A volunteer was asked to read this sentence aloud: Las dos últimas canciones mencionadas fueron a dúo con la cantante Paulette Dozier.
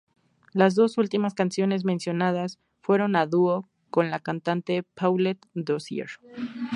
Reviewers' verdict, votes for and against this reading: rejected, 0, 2